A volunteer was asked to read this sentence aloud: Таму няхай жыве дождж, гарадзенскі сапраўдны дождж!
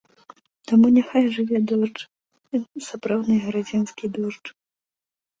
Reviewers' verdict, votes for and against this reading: rejected, 1, 2